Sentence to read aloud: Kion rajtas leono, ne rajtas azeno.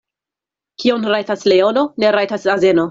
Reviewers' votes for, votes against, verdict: 2, 0, accepted